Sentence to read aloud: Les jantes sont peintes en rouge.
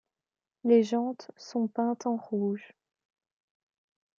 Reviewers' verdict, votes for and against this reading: accepted, 2, 0